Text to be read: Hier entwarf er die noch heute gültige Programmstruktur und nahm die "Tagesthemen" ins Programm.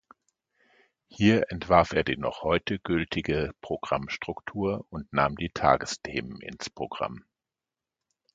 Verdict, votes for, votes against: accepted, 2, 0